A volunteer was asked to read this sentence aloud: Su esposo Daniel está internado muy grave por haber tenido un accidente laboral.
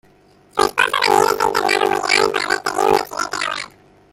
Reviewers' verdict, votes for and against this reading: rejected, 0, 2